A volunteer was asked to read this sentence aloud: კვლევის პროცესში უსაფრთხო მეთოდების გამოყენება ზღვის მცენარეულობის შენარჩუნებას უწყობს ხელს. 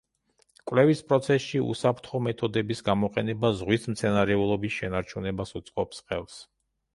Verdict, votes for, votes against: accepted, 2, 0